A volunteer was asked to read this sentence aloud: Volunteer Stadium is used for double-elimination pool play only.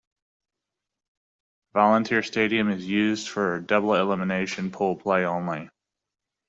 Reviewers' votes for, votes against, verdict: 2, 0, accepted